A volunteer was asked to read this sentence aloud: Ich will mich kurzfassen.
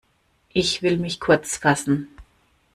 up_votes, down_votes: 2, 0